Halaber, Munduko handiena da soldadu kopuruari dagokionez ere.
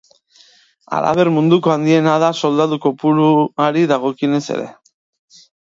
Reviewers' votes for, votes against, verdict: 3, 0, accepted